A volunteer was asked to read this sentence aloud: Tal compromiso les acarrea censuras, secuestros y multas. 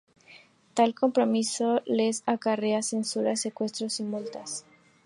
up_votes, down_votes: 2, 0